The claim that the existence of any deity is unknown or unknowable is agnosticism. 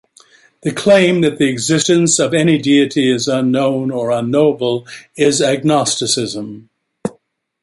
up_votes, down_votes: 2, 0